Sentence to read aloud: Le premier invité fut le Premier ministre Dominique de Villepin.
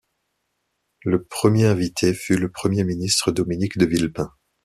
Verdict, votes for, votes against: accepted, 2, 0